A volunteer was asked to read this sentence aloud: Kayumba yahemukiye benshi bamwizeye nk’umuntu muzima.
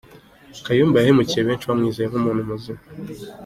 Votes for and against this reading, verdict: 2, 0, accepted